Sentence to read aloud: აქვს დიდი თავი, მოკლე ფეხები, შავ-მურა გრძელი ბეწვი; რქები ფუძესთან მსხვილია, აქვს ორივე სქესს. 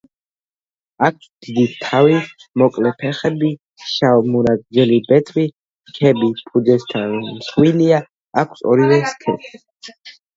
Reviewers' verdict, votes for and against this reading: rejected, 2, 3